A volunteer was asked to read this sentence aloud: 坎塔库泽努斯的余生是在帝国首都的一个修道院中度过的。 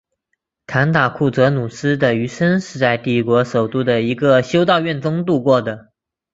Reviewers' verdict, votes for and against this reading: accepted, 4, 1